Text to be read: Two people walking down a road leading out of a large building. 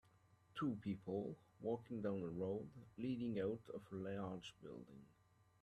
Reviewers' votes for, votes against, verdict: 2, 0, accepted